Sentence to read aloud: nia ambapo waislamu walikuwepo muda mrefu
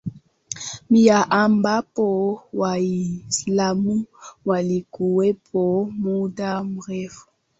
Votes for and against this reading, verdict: 2, 1, accepted